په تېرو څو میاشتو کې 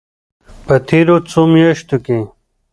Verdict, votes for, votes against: accepted, 2, 1